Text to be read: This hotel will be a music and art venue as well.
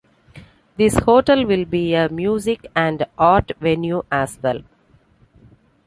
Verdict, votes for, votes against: accepted, 2, 0